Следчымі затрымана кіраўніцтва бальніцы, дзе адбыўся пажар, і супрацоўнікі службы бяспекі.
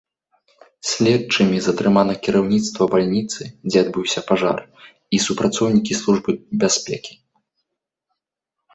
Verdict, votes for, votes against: rejected, 1, 2